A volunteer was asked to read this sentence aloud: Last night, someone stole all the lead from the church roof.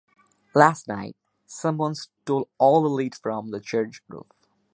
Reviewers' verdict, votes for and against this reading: accepted, 2, 1